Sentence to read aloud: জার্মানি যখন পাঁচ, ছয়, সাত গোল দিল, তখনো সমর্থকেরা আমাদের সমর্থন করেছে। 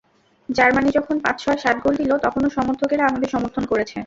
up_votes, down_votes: 2, 0